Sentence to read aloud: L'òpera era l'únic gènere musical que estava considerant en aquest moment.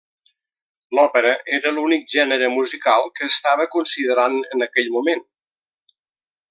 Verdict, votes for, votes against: rejected, 1, 2